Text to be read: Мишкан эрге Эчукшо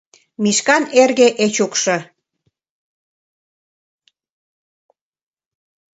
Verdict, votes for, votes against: accepted, 2, 0